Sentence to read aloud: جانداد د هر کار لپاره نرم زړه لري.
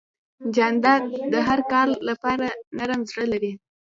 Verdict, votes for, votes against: rejected, 1, 2